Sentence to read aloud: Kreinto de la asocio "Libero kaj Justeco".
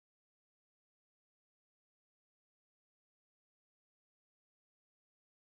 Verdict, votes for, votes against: accepted, 2, 0